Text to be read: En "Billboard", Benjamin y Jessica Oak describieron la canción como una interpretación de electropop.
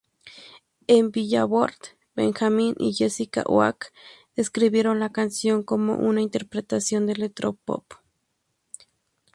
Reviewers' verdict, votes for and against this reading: rejected, 0, 2